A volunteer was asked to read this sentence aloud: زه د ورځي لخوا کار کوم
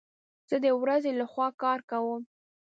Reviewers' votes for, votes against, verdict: 2, 0, accepted